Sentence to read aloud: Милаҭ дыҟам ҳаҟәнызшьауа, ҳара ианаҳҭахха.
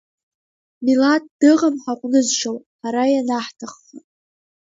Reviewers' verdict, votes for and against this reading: accepted, 2, 1